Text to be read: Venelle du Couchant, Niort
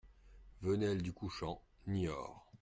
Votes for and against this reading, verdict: 2, 0, accepted